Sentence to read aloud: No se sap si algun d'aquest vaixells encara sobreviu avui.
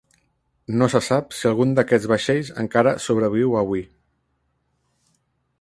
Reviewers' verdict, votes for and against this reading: accepted, 2, 0